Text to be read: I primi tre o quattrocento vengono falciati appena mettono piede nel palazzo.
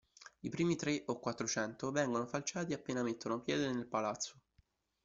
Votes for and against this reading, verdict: 2, 1, accepted